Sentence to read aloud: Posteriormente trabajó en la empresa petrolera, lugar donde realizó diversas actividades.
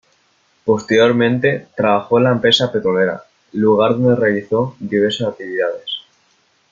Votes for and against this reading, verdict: 2, 0, accepted